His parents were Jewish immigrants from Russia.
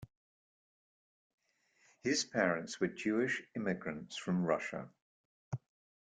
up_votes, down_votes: 2, 0